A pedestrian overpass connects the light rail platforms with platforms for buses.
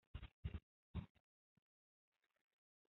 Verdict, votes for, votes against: rejected, 0, 2